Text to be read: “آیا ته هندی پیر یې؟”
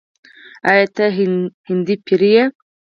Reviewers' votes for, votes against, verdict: 4, 0, accepted